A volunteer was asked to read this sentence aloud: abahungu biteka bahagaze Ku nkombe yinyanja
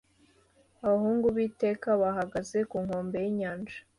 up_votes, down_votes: 2, 1